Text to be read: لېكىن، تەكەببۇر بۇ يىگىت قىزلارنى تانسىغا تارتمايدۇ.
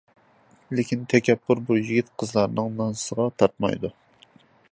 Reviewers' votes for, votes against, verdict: 0, 2, rejected